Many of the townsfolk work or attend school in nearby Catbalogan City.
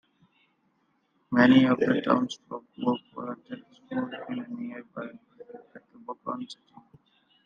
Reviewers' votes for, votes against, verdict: 1, 2, rejected